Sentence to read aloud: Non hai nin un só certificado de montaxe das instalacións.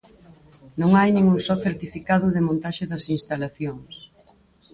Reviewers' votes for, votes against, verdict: 4, 0, accepted